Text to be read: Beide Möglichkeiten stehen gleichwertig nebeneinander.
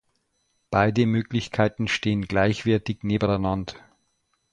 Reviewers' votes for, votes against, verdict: 0, 2, rejected